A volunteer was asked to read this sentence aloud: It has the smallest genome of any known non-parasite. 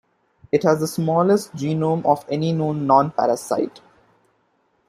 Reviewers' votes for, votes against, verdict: 2, 0, accepted